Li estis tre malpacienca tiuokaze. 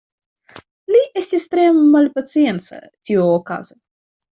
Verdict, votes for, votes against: accepted, 2, 0